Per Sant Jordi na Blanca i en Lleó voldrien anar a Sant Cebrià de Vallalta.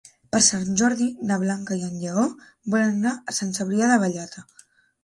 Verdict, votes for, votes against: rejected, 2, 3